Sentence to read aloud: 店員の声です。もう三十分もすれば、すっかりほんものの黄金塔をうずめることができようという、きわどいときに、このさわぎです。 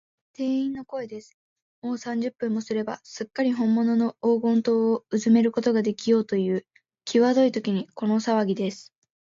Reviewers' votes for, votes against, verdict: 2, 0, accepted